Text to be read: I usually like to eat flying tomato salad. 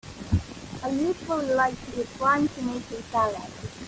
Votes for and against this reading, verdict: 0, 2, rejected